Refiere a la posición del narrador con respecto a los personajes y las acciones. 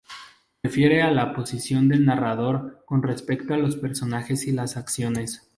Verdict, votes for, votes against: accepted, 2, 0